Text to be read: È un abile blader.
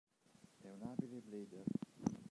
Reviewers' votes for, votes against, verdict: 0, 2, rejected